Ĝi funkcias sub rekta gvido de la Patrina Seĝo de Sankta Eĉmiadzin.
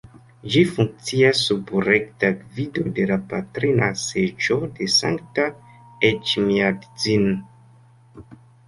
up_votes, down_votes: 0, 2